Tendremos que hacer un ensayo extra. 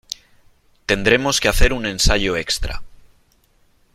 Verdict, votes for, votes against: accepted, 3, 0